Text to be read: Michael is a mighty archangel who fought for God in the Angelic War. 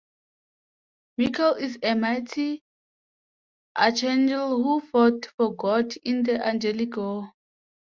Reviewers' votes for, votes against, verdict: 0, 2, rejected